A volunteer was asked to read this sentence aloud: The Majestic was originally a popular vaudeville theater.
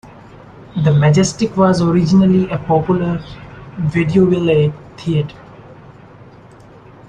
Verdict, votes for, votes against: rejected, 0, 2